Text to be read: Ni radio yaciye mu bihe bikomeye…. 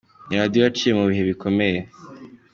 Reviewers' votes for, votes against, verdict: 3, 0, accepted